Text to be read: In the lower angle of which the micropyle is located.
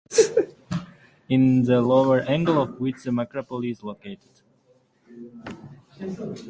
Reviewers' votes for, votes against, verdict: 0, 6, rejected